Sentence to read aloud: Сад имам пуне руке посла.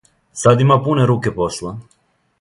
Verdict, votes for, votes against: rejected, 1, 2